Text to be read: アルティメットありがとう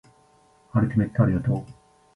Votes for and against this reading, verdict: 1, 2, rejected